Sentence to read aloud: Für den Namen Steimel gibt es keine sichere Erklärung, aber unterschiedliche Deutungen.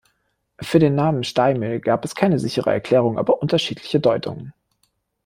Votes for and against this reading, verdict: 0, 2, rejected